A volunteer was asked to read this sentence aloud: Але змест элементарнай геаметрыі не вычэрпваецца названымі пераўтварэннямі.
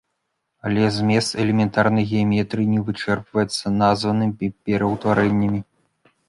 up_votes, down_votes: 0, 2